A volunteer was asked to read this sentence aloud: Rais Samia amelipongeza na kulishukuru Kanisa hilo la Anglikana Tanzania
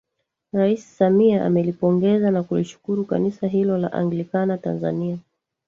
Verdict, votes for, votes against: accepted, 2, 1